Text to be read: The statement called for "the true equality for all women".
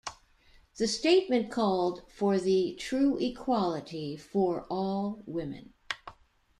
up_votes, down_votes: 2, 0